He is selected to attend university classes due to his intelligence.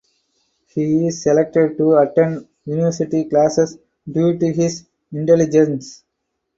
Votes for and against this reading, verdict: 4, 2, accepted